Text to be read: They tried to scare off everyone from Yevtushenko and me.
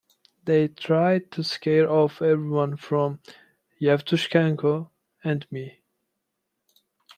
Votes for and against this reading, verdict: 1, 2, rejected